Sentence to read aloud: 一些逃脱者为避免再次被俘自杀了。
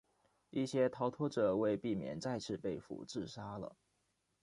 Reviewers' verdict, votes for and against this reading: accepted, 2, 0